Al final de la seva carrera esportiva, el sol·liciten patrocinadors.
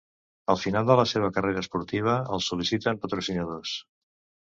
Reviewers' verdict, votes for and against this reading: accepted, 2, 0